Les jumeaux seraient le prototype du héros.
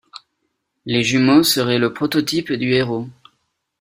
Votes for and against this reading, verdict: 2, 0, accepted